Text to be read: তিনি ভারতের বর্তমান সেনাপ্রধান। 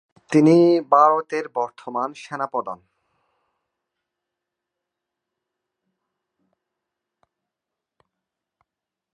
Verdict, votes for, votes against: rejected, 2, 3